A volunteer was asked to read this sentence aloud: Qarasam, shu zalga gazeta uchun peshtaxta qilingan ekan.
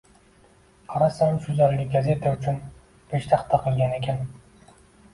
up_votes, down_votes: 1, 2